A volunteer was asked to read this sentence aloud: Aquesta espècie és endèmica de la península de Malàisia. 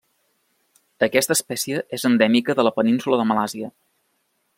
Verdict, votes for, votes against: rejected, 0, 2